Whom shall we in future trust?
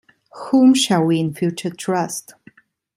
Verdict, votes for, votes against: accepted, 2, 0